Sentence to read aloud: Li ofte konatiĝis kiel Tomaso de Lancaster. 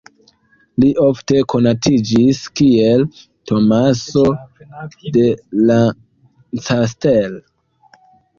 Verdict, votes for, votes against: rejected, 0, 2